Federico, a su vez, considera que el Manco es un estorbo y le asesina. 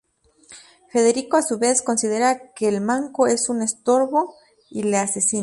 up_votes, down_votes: 0, 2